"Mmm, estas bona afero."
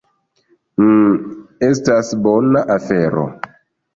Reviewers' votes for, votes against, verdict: 0, 2, rejected